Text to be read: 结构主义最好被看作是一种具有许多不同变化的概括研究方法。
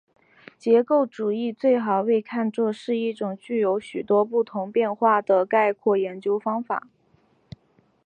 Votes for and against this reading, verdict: 5, 0, accepted